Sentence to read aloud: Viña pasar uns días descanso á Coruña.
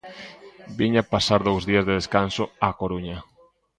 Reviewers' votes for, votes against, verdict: 0, 2, rejected